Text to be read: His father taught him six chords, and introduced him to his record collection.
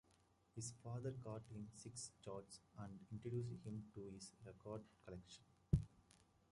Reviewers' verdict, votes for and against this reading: rejected, 0, 2